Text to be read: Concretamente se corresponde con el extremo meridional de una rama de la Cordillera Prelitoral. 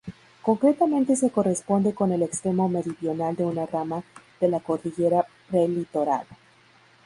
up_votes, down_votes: 0, 2